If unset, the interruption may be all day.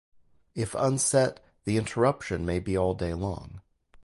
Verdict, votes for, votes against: rejected, 0, 2